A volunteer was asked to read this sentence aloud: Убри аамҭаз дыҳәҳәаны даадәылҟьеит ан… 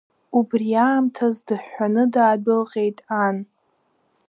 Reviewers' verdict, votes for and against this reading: rejected, 0, 2